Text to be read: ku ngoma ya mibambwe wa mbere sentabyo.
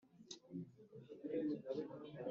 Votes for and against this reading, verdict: 1, 2, rejected